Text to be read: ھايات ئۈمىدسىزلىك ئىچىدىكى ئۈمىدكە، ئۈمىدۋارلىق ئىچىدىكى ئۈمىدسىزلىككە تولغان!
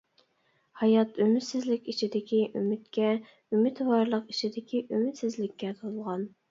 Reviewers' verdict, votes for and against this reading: accepted, 2, 0